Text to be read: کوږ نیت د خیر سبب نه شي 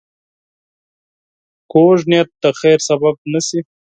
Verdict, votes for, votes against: accepted, 4, 0